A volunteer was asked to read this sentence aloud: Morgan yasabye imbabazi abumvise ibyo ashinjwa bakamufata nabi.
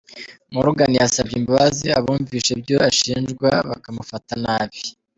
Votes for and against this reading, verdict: 3, 0, accepted